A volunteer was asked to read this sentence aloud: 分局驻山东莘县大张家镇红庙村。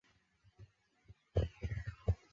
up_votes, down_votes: 3, 0